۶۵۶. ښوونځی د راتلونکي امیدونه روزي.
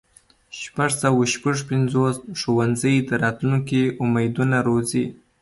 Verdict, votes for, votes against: rejected, 0, 2